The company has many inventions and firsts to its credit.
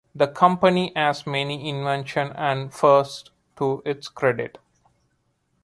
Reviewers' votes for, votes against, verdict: 1, 2, rejected